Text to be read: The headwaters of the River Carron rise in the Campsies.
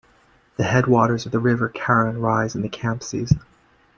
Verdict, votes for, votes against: accepted, 2, 0